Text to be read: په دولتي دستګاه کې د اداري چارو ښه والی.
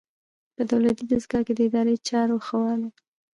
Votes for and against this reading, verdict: 0, 2, rejected